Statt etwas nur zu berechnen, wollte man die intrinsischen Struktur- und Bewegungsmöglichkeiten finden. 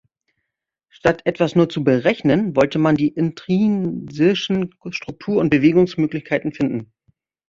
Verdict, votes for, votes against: rejected, 1, 2